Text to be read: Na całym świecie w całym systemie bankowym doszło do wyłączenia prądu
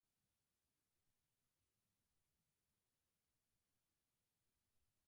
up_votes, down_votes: 0, 4